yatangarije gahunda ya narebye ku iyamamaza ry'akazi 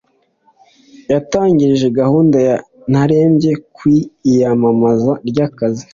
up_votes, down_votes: 2, 0